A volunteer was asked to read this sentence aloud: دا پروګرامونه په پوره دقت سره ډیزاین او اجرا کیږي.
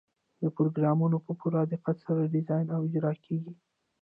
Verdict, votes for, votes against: rejected, 0, 2